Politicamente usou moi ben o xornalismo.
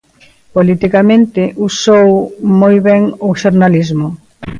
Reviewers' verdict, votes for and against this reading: accepted, 2, 0